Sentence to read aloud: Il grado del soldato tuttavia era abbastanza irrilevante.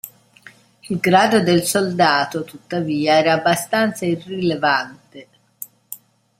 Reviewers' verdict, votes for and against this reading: accepted, 2, 0